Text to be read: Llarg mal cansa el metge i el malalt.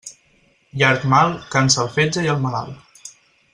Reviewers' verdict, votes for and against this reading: rejected, 0, 4